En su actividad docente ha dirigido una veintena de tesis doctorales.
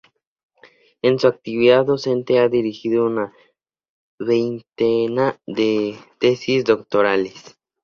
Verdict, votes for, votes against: accepted, 4, 0